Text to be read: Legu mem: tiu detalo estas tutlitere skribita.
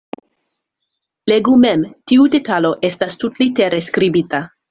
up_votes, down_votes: 2, 0